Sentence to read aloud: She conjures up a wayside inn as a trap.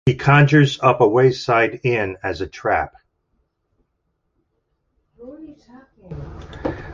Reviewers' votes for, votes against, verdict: 2, 1, accepted